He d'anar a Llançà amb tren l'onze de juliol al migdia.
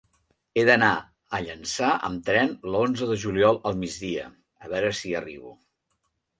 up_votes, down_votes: 1, 2